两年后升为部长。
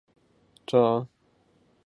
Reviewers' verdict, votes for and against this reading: rejected, 0, 2